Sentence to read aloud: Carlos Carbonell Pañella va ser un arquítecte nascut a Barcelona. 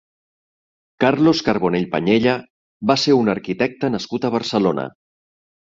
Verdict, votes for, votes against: accepted, 2, 0